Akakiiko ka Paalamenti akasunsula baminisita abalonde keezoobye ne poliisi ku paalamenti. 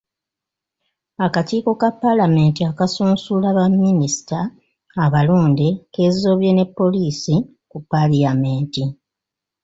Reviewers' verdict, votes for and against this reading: rejected, 0, 2